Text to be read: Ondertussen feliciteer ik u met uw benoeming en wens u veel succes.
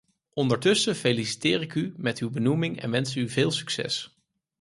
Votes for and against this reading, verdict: 4, 0, accepted